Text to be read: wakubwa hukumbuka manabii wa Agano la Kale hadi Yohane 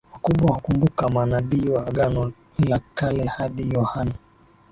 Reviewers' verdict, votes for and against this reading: rejected, 2, 3